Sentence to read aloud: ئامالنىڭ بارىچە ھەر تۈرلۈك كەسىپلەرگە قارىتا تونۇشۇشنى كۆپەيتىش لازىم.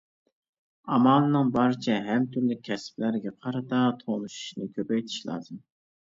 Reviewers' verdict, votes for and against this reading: accepted, 2, 1